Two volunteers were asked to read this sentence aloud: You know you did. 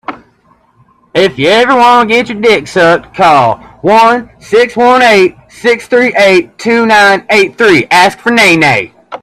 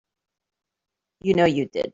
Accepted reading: second